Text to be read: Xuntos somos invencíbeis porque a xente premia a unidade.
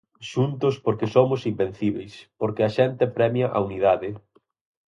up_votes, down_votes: 2, 4